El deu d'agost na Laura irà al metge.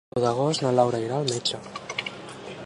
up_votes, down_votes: 0, 2